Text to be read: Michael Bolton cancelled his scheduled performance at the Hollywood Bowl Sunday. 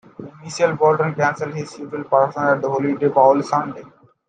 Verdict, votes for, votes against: rejected, 0, 2